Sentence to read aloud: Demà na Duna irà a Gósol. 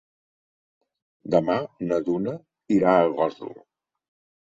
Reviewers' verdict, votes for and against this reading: accepted, 3, 0